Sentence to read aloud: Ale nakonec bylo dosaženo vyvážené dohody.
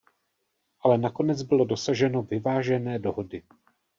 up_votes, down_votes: 1, 2